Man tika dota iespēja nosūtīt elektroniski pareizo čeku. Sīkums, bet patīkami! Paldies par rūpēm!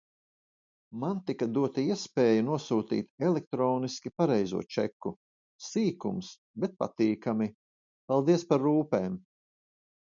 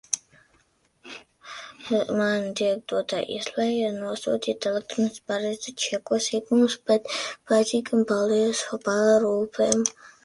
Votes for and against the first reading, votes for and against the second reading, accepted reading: 2, 0, 0, 2, first